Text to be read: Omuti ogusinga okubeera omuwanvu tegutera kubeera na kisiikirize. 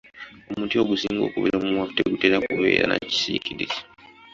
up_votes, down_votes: 2, 0